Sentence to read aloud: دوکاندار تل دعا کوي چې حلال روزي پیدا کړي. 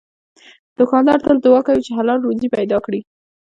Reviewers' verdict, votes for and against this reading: rejected, 0, 2